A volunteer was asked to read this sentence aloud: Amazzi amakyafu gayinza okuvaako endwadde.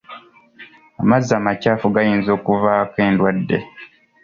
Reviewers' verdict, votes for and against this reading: accepted, 2, 0